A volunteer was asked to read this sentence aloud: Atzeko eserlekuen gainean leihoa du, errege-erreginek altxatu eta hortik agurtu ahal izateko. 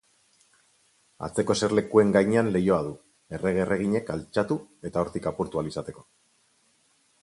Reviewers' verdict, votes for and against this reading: rejected, 0, 2